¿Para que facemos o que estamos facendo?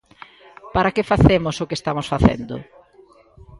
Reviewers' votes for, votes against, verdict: 2, 0, accepted